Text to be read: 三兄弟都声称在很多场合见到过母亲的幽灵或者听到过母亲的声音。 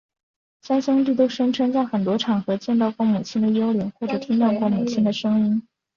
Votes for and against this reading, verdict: 4, 0, accepted